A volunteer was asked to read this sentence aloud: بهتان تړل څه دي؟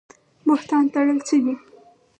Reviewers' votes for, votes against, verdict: 4, 0, accepted